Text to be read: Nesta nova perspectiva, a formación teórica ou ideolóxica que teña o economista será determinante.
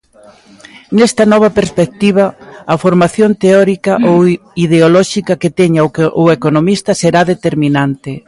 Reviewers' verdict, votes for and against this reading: rejected, 0, 2